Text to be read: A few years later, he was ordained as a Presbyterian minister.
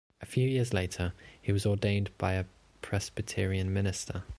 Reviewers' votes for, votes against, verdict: 0, 2, rejected